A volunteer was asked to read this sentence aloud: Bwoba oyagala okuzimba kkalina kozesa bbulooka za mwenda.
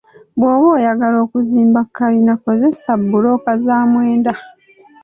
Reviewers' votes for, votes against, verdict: 2, 0, accepted